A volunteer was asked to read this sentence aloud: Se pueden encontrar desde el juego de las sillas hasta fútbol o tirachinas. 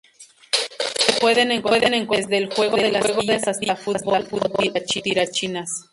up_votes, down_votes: 0, 2